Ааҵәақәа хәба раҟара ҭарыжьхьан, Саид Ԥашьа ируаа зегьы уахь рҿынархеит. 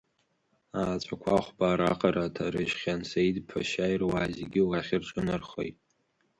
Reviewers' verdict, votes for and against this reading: rejected, 0, 2